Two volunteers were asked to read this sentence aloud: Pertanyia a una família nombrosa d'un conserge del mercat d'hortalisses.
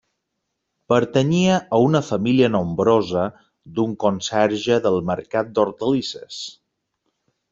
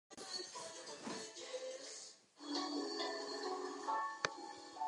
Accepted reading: first